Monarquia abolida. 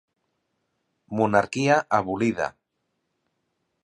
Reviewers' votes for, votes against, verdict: 2, 0, accepted